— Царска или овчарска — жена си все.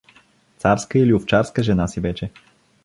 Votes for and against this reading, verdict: 0, 2, rejected